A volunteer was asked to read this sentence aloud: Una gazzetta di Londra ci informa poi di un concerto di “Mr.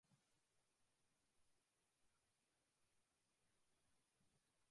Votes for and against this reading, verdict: 0, 2, rejected